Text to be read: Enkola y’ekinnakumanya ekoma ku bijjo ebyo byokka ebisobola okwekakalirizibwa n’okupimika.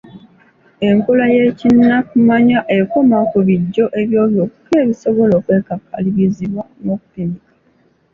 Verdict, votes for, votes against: accepted, 2, 0